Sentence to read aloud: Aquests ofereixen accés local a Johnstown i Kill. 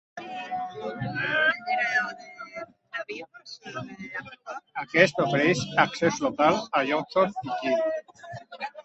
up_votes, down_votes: 0, 2